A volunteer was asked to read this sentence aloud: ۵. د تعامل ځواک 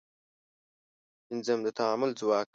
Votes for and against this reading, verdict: 0, 2, rejected